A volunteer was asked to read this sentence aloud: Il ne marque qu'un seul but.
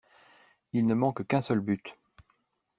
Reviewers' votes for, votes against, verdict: 0, 2, rejected